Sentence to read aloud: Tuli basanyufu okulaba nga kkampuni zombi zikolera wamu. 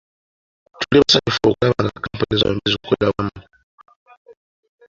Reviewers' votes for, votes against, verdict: 2, 1, accepted